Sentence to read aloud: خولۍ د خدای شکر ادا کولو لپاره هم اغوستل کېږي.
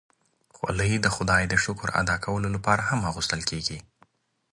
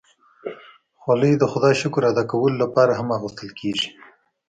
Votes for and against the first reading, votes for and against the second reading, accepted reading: 2, 0, 1, 2, first